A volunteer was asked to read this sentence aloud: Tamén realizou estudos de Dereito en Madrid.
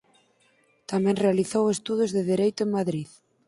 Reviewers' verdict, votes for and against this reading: accepted, 4, 0